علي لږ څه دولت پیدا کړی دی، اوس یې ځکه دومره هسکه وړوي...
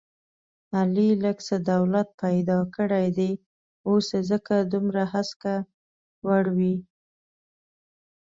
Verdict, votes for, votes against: rejected, 1, 2